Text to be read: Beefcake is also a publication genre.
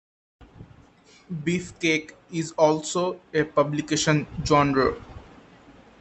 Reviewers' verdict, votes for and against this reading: accepted, 2, 0